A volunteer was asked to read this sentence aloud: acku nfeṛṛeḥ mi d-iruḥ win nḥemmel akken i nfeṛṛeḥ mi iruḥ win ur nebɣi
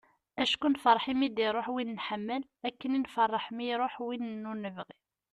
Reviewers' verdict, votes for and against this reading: rejected, 1, 2